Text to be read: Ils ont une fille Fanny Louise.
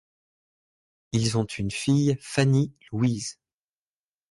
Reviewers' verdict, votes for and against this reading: accepted, 2, 0